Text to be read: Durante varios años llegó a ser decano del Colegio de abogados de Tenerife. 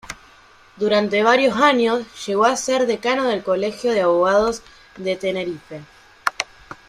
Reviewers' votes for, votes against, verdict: 1, 2, rejected